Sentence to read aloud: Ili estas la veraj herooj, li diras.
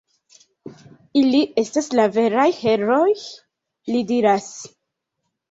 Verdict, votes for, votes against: accepted, 2, 1